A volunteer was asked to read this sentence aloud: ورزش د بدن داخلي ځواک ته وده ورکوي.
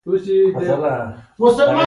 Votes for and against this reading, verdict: 0, 2, rejected